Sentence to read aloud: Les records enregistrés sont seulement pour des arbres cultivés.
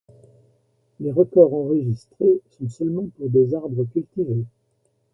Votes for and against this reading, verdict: 0, 2, rejected